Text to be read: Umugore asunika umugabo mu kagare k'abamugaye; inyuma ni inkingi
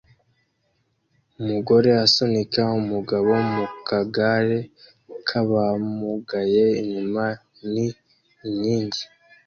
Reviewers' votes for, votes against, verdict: 2, 0, accepted